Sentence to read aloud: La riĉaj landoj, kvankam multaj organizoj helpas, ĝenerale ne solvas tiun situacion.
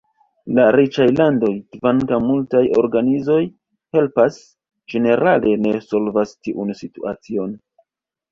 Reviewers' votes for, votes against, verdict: 2, 1, accepted